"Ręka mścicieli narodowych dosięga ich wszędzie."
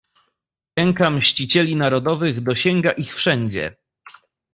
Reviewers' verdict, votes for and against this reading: rejected, 1, 2